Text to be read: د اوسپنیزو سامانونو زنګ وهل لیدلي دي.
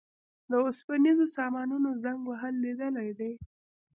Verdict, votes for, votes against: rejected, 1, 2